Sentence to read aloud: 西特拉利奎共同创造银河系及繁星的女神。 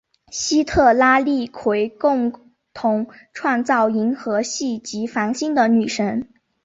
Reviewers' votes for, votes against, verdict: 3, 1, accepted